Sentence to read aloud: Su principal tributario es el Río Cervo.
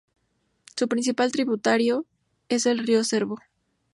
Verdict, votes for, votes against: accepted, 2, 0